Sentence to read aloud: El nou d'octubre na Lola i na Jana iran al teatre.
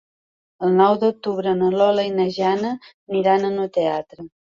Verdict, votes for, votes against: rejected, 1, 3